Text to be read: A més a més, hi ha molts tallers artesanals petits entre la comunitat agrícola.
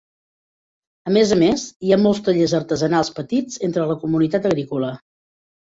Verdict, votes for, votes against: accepted, 4, 0